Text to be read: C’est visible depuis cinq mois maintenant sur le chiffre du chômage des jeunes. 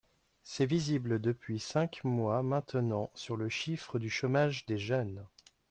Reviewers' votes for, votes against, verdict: 2, 1, accepted